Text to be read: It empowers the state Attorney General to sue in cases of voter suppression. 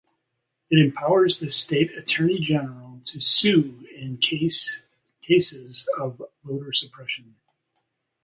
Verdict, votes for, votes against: rejected, 0, 2